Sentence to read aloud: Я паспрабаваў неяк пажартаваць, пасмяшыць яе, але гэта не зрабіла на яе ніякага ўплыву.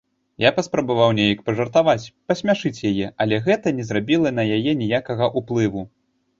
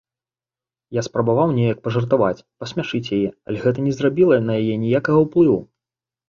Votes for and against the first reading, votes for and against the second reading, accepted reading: 2, 0, 1, 2, first